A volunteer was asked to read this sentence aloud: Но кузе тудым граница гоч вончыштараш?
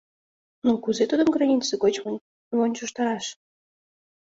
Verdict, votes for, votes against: rejected, 1, 2